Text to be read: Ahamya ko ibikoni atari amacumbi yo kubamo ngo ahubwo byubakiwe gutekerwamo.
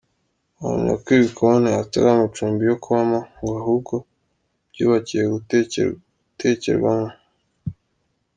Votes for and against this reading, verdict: 1, 2, rejected